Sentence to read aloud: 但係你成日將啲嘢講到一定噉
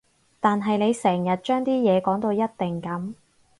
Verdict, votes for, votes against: accepted, 4, 0